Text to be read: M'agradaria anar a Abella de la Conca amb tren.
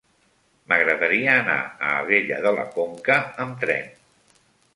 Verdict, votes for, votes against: accepted, 3, 0